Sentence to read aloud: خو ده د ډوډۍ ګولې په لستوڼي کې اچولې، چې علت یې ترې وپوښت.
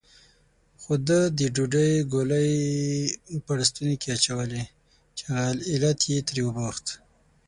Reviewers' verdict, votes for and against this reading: rejected, 3, 6